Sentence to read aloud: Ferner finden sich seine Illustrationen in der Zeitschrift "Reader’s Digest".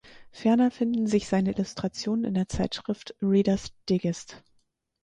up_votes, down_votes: 2, 4